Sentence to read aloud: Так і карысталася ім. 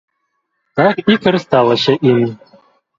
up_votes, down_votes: 1, 2